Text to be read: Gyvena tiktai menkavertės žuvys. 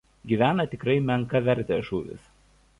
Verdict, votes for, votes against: rejected, 1, 2